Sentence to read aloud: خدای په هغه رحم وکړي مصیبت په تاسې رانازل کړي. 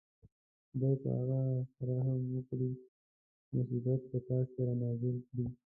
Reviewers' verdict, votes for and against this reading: rejected, 1, 2